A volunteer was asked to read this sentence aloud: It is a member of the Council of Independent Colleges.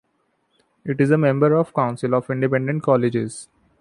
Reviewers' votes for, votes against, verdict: 1, 2, rejected